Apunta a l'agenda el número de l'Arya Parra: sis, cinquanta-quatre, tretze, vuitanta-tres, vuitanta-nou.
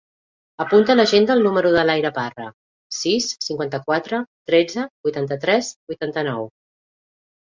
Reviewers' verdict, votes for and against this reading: accepted, 3, 0